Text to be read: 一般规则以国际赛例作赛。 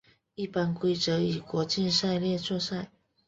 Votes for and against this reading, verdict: 3, 1, accepted